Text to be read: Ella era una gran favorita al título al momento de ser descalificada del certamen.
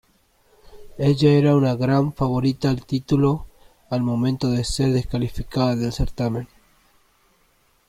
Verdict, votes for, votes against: accepted, 2, 0